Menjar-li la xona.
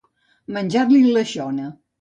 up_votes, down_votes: 2, 0